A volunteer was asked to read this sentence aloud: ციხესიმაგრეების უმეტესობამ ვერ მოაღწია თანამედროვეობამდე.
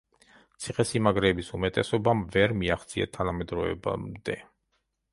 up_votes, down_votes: 1, 2